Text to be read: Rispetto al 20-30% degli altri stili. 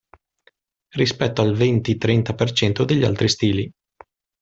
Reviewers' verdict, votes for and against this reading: rejected, 0, 2